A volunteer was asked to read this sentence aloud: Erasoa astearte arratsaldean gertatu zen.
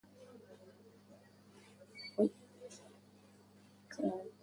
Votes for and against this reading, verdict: 0, 2, rejected